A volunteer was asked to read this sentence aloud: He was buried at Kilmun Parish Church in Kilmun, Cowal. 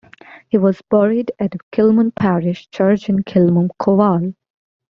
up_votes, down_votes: 2, 1